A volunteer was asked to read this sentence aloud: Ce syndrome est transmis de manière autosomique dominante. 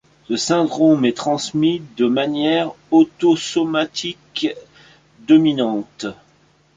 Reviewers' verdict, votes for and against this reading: rejected, 0, 2